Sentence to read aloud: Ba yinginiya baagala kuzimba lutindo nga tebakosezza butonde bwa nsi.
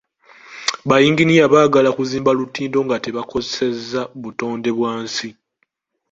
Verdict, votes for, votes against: accepted, 2, 0